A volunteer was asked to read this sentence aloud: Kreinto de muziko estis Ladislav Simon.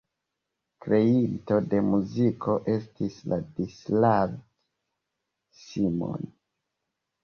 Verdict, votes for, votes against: rejected, 0, 2